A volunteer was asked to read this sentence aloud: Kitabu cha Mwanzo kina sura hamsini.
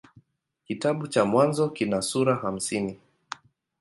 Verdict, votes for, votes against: accepted, 2, 0